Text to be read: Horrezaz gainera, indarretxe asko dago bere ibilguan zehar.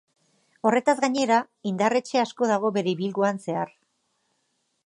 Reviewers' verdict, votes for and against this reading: rejected, 0, 3